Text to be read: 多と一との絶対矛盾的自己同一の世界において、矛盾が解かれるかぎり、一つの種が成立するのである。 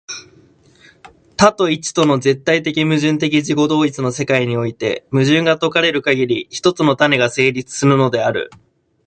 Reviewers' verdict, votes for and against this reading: rejected, 0, 2